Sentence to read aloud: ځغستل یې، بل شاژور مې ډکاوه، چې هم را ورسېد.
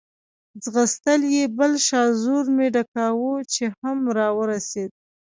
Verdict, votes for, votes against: accepted, 2, 0